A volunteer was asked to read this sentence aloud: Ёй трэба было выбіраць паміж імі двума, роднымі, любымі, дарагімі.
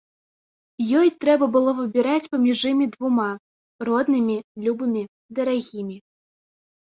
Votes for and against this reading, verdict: 2, 0, accepted